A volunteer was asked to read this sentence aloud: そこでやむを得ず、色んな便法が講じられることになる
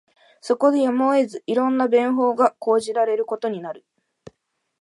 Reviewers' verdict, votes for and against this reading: accepted, 2, 0